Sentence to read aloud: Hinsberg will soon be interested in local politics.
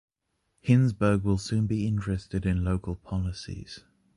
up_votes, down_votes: 1, 2